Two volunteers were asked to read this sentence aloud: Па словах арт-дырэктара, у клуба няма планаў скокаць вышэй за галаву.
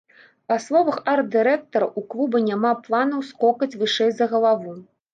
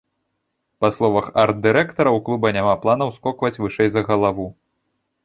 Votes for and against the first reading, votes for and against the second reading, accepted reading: 2, 0, 1, 2, first